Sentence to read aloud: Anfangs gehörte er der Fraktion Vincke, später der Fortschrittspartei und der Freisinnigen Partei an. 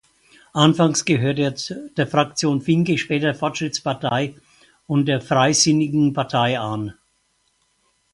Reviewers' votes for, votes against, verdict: 0, 4, rejected